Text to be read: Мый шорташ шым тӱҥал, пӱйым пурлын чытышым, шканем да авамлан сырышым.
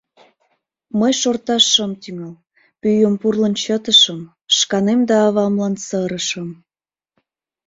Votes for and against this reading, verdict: 2, 0, accepted